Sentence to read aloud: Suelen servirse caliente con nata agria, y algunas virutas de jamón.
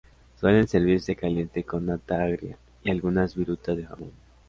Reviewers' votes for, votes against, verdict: 2, 0, accepted